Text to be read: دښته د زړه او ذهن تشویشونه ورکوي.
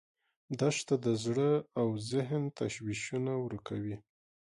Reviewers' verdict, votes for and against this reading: accepted, 2, 0